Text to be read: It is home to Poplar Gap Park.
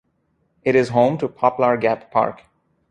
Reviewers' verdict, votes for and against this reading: accepted, 2, 0